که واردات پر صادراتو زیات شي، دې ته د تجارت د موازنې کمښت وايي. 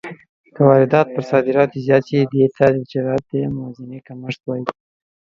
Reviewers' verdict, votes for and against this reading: rejected, 1, 2